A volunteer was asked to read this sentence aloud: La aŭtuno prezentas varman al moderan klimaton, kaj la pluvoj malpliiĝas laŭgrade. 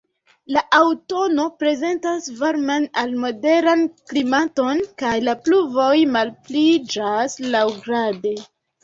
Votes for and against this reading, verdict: 0, 2, rejected